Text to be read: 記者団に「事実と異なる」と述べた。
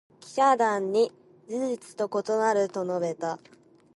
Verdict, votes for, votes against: accepted, 2, 0